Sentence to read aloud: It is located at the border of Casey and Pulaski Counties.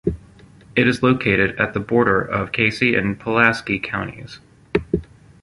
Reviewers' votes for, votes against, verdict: 2, 0, accepted